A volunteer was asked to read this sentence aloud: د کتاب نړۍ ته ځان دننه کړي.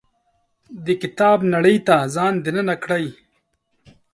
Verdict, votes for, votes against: accepted, 2, 1